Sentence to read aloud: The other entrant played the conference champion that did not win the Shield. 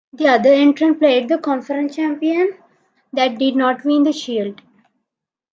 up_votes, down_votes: 2, 0